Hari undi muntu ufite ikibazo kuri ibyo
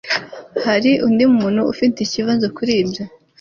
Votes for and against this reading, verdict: 2, 0, accepted